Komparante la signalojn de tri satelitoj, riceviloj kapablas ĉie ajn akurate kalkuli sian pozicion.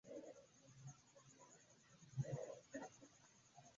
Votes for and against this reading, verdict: 2, 0, accepted